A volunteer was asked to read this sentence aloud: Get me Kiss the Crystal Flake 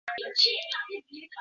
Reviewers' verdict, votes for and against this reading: rejected, 0, 2